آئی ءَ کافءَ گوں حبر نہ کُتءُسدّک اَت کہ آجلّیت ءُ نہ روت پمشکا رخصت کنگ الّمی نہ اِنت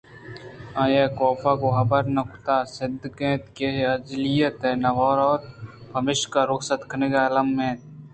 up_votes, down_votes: 2, 0